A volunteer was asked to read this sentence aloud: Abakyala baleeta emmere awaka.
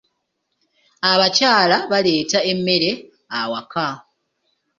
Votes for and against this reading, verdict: 2, 0, accepted